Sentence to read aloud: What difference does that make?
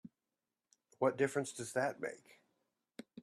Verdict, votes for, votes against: accepted, 2, 1